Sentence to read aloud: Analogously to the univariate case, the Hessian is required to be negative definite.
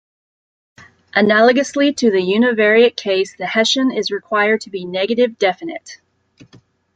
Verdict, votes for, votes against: accepted, 2, 0